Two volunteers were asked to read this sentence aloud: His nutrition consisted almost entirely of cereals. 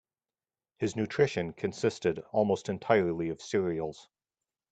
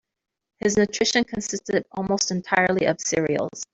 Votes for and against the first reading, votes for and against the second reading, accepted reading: 2, 0, 1, 4, first